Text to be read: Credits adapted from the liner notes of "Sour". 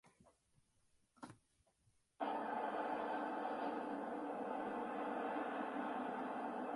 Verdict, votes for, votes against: rejected, 0, 2